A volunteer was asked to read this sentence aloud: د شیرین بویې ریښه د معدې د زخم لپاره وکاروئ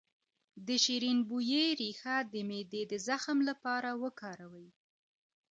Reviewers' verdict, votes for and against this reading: accepted, 2, 0